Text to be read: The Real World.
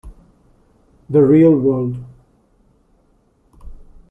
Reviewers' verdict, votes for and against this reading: accepted, 2, 0